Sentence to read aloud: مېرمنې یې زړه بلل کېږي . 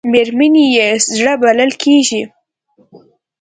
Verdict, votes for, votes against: accepted, 2, 0